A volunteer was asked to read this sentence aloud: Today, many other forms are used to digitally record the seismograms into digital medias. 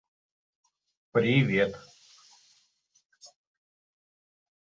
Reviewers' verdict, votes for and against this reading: rejected, 0, 2